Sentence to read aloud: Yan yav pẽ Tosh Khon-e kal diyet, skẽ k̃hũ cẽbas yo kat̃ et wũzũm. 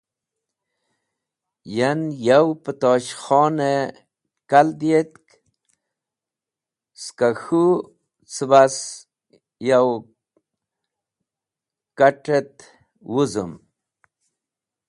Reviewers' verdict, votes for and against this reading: accepted, 2, 0